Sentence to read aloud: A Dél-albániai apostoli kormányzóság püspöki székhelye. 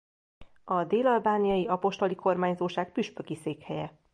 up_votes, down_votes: 2, 0